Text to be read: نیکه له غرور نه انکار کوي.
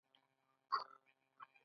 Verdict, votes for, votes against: accepted, 2, 0